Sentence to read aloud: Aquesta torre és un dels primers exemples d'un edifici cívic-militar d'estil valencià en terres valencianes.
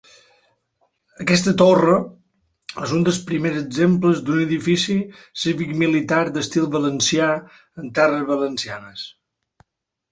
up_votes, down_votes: 2, 0